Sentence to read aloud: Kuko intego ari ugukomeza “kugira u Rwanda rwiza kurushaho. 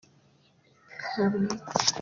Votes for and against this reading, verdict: 0, 2, rejected